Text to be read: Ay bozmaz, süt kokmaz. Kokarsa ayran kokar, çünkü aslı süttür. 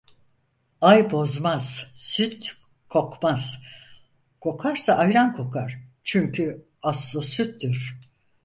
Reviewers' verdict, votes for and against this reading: accepted, 4, 0